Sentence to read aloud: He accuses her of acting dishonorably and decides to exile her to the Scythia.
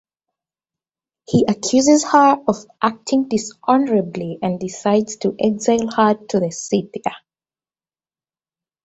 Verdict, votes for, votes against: accepted, 2, 0